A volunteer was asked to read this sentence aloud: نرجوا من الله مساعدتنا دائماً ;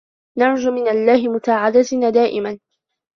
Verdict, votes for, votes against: rejected, 0, 2